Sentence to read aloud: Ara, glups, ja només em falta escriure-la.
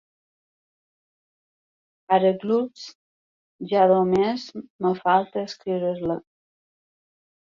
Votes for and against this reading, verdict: 0, 2, rejected